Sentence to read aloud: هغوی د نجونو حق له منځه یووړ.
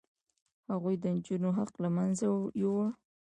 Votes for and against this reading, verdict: 1, 2, rejected